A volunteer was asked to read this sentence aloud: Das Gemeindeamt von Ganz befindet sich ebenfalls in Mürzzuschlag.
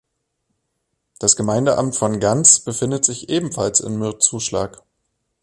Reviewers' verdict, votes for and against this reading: accepted, 2, 0